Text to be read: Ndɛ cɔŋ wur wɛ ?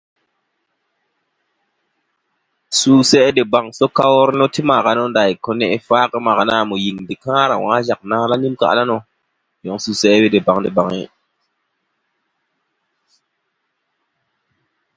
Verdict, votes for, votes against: rejected, 0, 2